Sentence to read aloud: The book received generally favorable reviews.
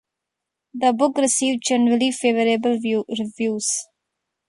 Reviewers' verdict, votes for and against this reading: rejected, 1, 2